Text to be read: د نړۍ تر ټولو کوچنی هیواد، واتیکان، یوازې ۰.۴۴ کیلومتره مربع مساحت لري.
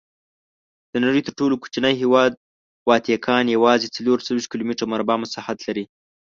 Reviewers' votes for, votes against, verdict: 0, 2, rejected